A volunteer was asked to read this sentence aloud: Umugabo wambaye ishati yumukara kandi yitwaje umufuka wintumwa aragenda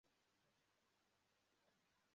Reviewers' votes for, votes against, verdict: 0, 2, rejected